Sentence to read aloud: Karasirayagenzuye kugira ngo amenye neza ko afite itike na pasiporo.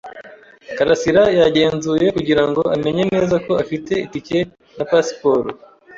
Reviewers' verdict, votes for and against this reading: accepted, 2, 0